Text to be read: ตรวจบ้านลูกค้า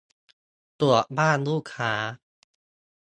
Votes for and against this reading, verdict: 1, 2, rejected